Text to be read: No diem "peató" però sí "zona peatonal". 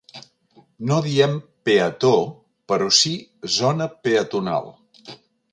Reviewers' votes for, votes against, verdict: 4, 0, accepted